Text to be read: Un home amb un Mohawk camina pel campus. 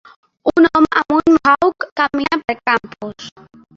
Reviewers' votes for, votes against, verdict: 0, 2, rejected